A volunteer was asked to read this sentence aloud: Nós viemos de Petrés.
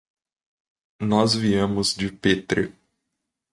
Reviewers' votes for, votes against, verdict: 1, 2, rejected